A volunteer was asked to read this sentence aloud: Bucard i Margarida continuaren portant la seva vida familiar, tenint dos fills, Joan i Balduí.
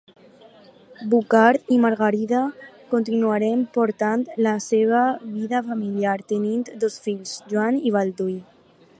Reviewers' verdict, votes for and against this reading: rejected, 2, 2